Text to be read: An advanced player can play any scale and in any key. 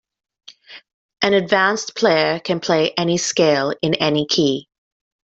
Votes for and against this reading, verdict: 1, 2, rejected